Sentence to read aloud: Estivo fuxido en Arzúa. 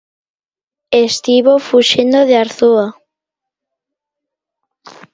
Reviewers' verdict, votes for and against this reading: rejected, 0, 2